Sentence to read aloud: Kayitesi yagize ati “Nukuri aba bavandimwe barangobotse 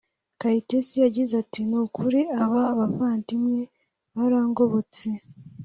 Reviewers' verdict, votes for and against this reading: accepted, 2, 0